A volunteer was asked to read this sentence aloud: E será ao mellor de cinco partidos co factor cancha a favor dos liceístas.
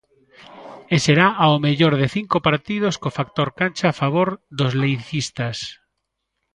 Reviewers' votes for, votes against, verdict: 0, 2, rejected